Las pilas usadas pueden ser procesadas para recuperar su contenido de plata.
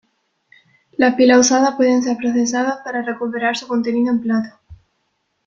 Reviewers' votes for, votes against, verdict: 1, 2, rejected